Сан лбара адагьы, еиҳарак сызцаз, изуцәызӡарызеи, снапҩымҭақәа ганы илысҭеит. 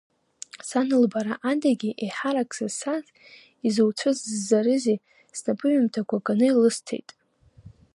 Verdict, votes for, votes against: rejected, 0, 2